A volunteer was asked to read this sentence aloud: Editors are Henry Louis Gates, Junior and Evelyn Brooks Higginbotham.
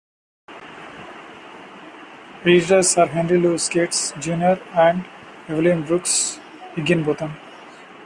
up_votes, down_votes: 1, 2